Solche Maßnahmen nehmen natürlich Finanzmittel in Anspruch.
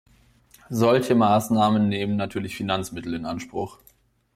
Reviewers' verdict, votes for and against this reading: accepted, 2, 0